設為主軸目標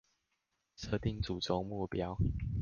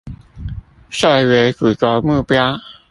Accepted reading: second